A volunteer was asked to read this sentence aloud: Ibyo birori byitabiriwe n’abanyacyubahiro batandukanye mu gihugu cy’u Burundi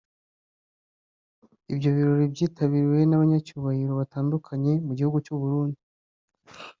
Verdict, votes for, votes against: accepted, 2, 0